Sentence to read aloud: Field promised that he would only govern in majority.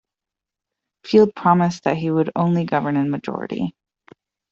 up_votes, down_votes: 2, 0